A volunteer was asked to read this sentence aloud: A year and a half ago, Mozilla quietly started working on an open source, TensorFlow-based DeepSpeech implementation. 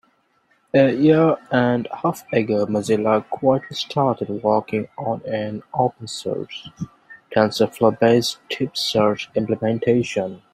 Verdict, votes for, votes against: rejected, 1, 2